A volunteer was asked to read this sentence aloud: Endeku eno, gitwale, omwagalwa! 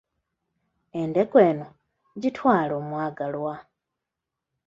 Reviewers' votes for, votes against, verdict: 2, 0, accepted